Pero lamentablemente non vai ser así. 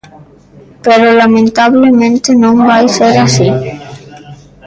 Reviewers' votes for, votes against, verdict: 1, 2, rejected